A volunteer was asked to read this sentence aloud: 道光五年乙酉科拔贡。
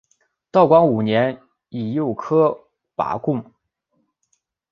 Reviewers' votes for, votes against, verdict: 3, 0, accepted